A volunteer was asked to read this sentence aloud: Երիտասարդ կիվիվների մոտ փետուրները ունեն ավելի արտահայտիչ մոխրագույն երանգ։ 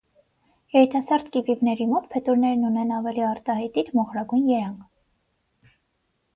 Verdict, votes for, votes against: accepted, 6, 0